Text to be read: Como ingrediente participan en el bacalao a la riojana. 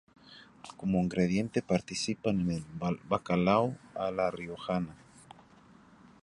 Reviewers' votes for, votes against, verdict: 0, 2, rejected